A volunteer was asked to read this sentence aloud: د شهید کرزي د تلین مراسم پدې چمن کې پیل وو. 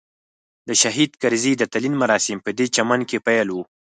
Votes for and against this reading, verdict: 4, 2, accepted